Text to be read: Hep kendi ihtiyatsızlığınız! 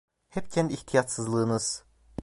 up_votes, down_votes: 2, 0